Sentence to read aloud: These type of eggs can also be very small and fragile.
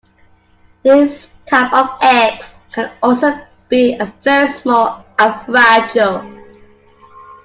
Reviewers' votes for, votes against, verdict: 0, 2, rejected